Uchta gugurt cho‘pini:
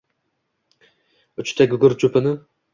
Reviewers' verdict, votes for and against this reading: accepted, 2, 0